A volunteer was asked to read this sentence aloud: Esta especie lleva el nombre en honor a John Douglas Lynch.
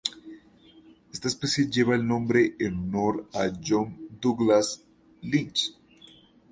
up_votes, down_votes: 2, 2